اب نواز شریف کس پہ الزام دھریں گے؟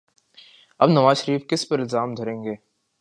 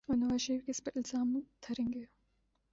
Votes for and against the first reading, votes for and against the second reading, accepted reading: 2, 0, 1, 2, first